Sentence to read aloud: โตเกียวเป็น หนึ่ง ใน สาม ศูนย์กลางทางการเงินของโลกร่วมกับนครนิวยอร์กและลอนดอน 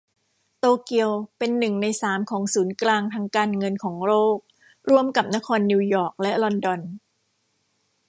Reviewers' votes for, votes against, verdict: 0, 2, rejected